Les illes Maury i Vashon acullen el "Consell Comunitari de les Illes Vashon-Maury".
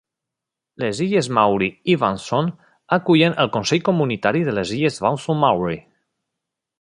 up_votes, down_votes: 0, 2